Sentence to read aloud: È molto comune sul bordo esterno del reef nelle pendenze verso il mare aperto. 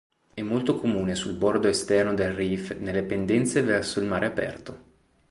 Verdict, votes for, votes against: accepted, 3, 0